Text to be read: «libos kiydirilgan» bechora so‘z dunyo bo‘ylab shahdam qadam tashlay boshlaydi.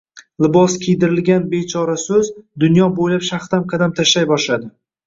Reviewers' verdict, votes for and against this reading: rejected, 0, 2